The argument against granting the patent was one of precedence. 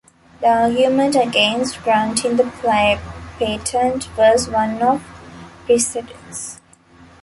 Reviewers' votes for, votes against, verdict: 0, 2, rejected